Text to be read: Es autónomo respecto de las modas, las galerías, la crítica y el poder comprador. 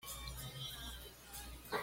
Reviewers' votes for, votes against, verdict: 1, 2, rejected